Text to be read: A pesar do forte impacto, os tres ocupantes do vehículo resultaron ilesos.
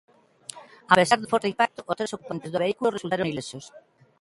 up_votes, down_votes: 0, 2